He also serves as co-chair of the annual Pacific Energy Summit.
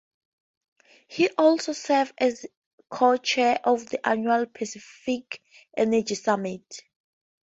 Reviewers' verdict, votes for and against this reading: rejected, 0, 2